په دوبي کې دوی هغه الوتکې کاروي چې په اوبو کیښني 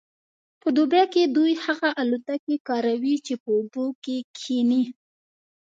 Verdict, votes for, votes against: rejected, 1, 2